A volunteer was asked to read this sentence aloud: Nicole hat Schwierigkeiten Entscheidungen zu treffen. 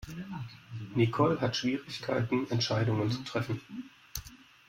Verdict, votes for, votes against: accepted, 2, 0